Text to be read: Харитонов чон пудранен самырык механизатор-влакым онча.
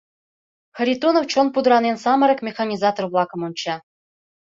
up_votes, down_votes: 2, 0